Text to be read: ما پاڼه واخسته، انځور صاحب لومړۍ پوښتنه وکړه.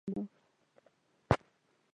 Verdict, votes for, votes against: rejected, 1, 2